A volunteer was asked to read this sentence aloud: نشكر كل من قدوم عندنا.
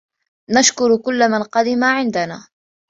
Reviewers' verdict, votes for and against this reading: rejected, 3, 5